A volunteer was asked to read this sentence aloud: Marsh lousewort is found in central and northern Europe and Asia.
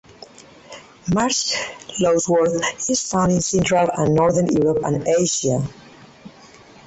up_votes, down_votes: 2, 2